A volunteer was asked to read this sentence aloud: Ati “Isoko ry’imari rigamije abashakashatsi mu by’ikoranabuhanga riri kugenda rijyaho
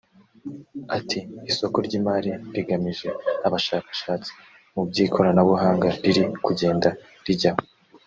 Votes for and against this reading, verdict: 3, 0, accepted